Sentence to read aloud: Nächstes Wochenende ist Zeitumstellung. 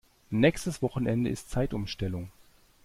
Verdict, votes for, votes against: accepted, 2, 0